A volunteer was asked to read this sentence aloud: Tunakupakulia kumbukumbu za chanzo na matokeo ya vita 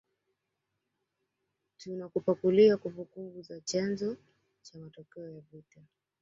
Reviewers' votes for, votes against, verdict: 0, 2, rejected